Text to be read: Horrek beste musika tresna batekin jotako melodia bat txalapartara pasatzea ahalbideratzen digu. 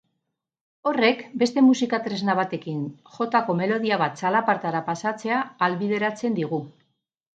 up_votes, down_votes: 6, 0